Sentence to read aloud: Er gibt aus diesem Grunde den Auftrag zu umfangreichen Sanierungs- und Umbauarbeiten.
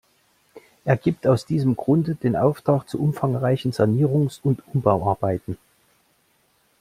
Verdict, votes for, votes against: accepted, 2, 0